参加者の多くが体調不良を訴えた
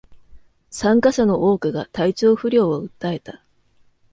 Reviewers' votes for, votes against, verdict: 2, 0, accepted